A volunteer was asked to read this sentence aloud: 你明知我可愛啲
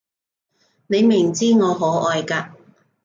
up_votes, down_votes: 1, 3